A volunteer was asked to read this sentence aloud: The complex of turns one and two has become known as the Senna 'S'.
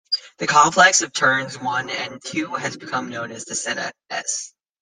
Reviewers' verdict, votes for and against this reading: accepted, 2, 0